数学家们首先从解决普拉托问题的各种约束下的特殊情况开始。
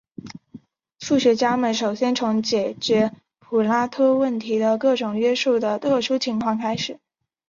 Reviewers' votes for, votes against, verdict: 2, 1, accepted